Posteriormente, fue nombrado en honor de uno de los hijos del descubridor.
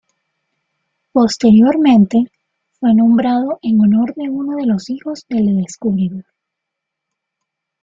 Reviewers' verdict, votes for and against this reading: rejected, 1, 2